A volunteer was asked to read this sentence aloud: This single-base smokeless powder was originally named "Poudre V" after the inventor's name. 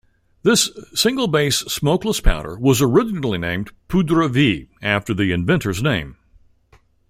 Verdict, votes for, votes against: accepted, 2, 0